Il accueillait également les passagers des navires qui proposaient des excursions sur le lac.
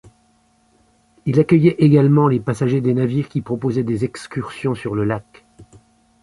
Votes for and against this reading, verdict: 2, 0, accepted